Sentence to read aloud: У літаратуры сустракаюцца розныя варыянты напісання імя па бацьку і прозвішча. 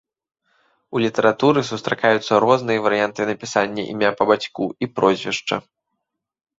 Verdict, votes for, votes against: rejected, 1, 2